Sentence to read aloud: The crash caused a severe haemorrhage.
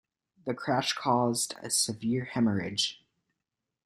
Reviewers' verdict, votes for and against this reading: accepted, 2, 0